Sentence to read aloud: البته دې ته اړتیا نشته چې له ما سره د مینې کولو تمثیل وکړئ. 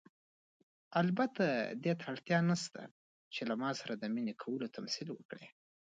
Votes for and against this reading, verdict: 2, 0, accepted